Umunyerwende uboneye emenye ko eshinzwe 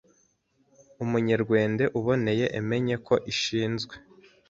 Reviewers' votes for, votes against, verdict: 2, 3, rejected